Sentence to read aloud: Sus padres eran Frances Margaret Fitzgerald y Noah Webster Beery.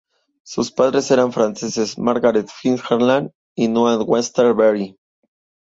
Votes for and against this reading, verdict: 2, 0, accepted